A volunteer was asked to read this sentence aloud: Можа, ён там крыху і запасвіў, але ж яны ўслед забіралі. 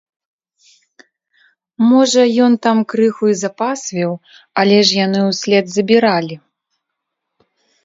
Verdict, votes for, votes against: accepted, 2, 0